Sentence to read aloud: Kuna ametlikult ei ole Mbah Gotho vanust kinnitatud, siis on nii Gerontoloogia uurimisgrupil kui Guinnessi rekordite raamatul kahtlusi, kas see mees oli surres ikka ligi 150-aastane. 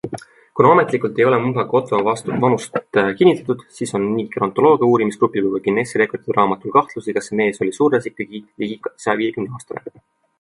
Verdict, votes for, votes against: rejected, 0, 2